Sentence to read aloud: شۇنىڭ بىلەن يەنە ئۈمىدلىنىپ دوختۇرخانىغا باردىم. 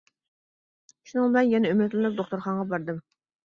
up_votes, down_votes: 2, 0